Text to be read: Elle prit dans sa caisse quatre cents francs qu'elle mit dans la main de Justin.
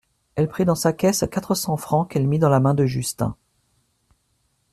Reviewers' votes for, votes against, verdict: 2, 0, accepted